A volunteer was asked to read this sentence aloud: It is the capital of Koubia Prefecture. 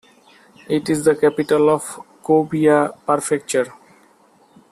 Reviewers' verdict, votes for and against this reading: rejected, 0, 2